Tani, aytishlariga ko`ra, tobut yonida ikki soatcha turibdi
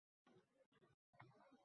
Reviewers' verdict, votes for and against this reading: rejected, 0, 2